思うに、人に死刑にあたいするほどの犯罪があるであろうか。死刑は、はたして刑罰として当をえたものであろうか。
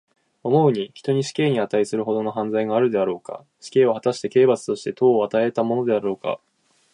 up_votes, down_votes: 2, 1